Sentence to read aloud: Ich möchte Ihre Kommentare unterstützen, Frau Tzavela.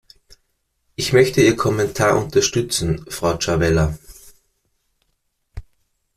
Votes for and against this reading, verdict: 0, 2, rejected